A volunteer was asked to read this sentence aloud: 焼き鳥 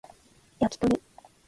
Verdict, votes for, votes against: rejected, 1, 2